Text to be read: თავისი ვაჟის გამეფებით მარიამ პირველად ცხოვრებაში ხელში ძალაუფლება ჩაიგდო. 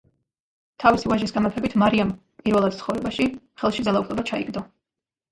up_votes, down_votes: 1, 2